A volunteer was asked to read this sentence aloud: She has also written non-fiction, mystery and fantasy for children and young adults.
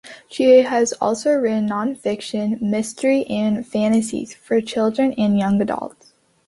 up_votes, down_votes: 0, 2